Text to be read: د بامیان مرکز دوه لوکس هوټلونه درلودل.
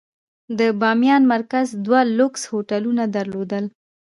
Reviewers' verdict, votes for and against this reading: accepted, 2, 0